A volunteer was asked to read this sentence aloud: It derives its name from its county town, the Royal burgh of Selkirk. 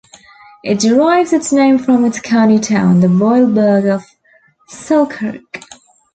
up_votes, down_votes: 2, 0